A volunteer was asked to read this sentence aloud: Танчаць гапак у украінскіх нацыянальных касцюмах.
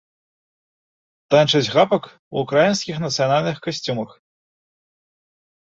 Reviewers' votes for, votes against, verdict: 0, 2, rejected